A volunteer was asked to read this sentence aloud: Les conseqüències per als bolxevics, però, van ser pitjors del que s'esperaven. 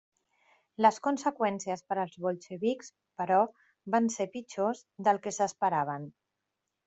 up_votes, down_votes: 1, 2